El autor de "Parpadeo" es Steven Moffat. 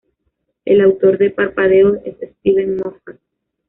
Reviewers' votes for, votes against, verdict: 2, 0, accepted